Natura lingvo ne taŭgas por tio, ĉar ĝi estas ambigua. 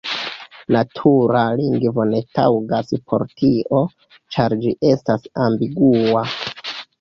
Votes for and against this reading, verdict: 0, 3, rejected